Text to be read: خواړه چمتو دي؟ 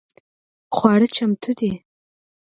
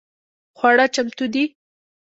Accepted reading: first